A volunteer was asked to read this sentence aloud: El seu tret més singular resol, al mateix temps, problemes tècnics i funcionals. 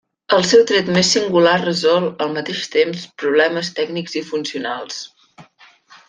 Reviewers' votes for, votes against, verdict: 3, 0, accepted